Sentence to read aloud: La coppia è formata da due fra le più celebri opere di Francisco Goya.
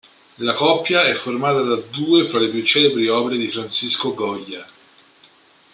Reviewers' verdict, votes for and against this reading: accepted, 2, 1